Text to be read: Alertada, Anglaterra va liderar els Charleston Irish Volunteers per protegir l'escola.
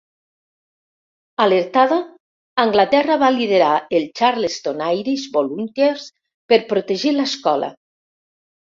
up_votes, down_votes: 1, 2